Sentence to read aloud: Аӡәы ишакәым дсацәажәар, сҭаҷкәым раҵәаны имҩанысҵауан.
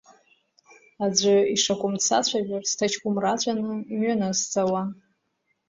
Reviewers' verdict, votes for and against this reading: rejected, 0, 2